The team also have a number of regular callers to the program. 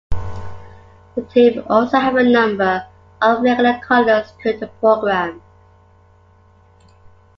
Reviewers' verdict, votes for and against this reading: accepted, 2, 0